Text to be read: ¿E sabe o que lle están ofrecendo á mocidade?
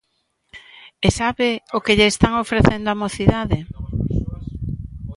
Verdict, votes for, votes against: accepted, 2, 1